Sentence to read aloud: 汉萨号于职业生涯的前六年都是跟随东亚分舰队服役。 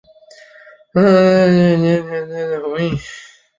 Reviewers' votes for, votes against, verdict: 0, 2, rejected